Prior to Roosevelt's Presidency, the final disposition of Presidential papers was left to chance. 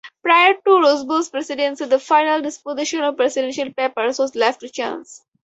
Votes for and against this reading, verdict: 2, 2, rejected